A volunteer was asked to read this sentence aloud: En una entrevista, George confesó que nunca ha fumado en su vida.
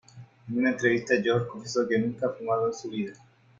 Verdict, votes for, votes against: rejected, 1, 2